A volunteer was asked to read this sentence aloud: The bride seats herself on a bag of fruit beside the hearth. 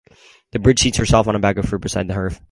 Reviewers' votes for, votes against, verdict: 0, 4, rejected